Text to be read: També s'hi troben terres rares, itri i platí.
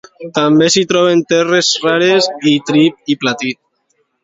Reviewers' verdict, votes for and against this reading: accepted, 2, 0